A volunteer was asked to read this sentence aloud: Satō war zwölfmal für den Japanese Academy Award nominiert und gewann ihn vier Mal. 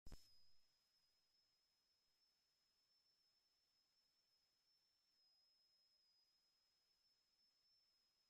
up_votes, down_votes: 0, 2